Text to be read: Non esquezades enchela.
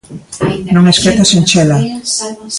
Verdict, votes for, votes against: rejected, 0, 2